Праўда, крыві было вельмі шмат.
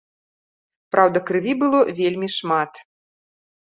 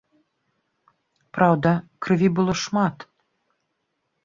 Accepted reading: first